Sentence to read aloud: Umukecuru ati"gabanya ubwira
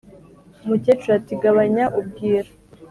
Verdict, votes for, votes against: accepted, 2, 0